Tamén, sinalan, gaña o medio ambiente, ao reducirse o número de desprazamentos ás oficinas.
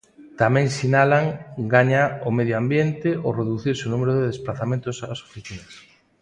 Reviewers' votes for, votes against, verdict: 2, 0, accepted